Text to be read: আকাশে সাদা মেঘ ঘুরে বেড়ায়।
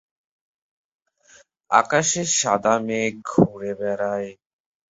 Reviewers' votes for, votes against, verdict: 7, 0, accepted